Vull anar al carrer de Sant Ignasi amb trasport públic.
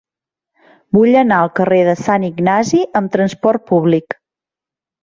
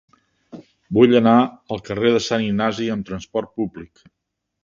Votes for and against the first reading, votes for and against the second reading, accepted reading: 1, 2, 3, 0, second